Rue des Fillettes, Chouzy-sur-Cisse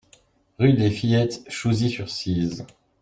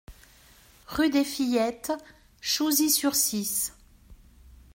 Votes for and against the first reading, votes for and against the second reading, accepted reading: 0, 2, 2, 0, second